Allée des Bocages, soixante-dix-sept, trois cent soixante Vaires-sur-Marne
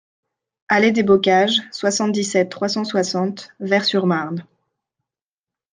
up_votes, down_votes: 2, 0